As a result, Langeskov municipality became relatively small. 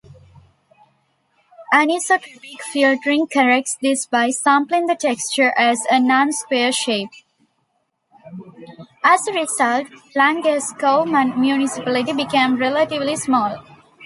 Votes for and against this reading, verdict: 1, 2, rejected